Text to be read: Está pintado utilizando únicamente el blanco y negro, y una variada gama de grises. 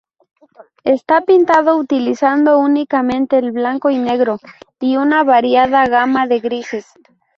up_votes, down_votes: 2, 0